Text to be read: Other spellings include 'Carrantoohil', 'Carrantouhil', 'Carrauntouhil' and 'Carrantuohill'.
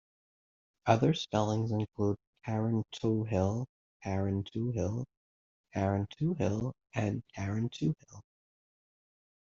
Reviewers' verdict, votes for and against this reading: rejected, 1, 2